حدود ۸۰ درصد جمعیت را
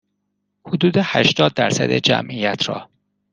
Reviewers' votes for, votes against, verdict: 0, 2, rejected